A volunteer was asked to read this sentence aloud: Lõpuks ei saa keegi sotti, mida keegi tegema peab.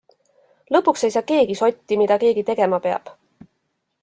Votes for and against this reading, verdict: 2, 0, accepted